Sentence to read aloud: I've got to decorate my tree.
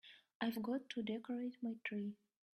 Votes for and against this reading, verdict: 1, 2, rejected